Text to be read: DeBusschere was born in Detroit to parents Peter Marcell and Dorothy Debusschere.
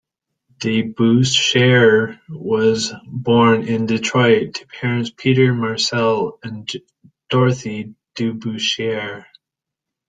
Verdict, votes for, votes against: accepted, 2, 1